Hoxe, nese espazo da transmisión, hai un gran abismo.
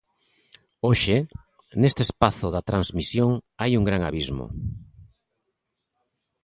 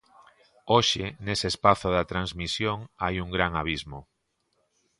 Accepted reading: second